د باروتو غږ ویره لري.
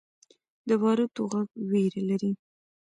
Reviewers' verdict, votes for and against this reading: accepted, 2, 0